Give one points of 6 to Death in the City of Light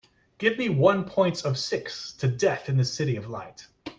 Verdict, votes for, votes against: rejected, 0, 2